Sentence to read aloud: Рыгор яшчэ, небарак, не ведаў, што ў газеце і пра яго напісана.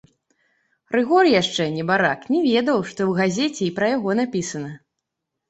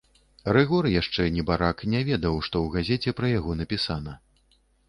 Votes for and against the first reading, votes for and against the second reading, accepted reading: 2, 0, 1, 2, first